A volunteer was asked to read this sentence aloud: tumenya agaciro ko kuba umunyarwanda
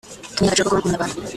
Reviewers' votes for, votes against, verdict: 0, 2, rejected